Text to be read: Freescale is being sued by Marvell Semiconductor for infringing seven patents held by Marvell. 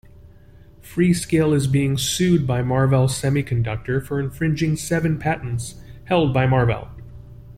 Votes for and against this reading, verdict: 2, 0, accepted